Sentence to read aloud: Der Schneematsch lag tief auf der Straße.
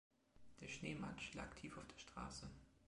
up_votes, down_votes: 2, 0